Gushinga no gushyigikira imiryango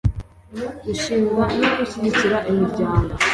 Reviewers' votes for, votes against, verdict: 2, 0, accepted